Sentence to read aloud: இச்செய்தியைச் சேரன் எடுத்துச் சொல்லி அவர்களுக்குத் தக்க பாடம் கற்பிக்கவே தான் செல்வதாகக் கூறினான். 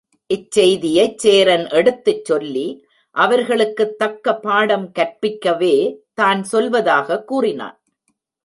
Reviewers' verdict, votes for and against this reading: rejected, 1, 2